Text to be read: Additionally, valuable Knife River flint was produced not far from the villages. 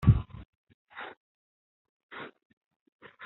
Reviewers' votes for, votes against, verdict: 0, 2, rejected